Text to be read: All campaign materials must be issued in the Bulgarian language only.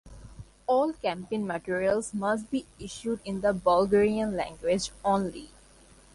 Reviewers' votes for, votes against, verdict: 2, 0, accepted